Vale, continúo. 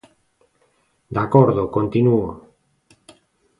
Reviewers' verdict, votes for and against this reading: rejected, 0, 2